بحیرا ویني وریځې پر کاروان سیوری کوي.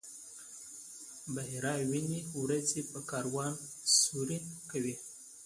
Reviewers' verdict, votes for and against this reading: rejected, 1, 2